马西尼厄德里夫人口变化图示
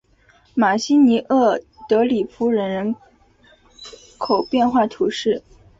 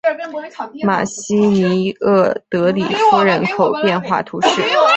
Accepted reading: first